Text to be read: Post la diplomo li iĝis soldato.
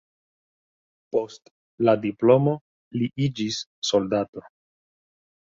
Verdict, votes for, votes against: accepted, 2, 1